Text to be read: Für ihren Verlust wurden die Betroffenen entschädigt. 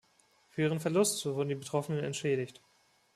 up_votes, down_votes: 2, 1